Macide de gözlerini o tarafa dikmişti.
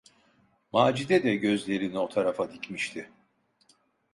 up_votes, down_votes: 2, 0